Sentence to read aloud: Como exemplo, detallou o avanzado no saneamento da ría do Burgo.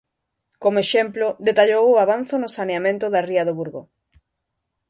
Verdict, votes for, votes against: rejected, 0, 2